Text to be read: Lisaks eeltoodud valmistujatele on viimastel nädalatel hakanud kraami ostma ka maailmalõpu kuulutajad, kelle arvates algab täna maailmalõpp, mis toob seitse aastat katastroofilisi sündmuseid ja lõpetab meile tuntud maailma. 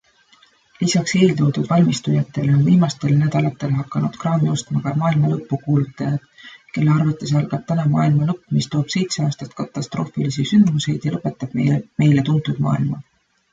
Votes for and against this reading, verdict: 0, 2, rejected